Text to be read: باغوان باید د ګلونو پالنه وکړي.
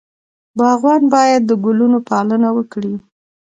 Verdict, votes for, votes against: accepted, 2, 0